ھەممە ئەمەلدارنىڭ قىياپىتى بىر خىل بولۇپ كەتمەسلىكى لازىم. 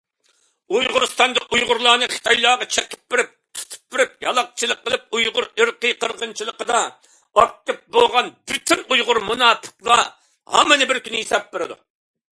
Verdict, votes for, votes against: rejected, 0, 2